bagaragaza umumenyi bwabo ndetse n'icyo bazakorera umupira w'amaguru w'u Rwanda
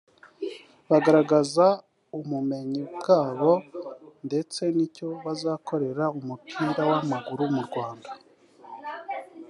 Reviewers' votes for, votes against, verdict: 0, 2, rejected